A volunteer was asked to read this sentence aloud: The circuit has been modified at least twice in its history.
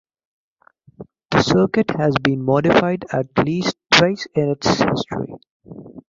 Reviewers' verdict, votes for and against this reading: rejected, 0, 2